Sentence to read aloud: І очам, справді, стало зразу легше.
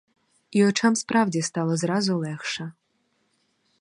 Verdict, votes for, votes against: accepted, 4, 0